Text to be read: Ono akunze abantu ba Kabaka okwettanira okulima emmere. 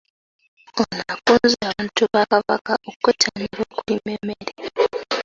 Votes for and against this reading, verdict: 0, 2, rejected